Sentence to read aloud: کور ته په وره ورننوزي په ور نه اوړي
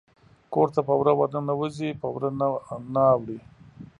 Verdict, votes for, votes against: rejected, 0, 2